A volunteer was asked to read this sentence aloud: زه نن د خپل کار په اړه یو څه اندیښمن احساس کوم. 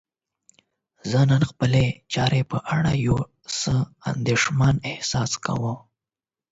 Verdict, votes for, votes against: accepted, 8, 0